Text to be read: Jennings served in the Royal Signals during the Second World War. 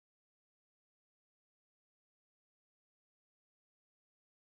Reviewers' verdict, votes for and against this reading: rejected, 0, 2